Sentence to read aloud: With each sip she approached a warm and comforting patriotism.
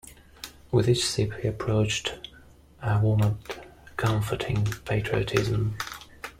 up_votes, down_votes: 1, 2